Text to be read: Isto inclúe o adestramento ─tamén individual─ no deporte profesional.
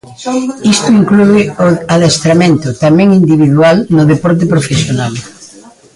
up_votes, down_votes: 1, 2